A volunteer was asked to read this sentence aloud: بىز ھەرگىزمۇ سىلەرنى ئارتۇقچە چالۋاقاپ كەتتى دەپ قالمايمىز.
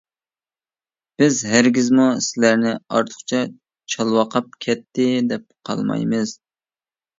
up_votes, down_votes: 2, 0